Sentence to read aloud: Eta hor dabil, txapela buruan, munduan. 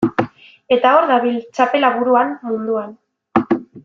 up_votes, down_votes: 2, 0